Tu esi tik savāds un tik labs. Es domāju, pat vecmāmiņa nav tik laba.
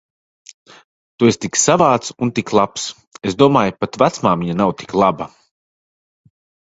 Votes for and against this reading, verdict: 2, 0, accepted